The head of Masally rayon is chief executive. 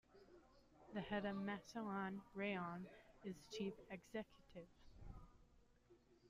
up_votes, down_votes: 0, 2